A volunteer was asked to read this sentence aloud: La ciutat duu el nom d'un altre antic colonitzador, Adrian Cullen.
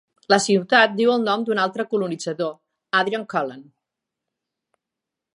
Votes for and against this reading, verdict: 1, 2, rejected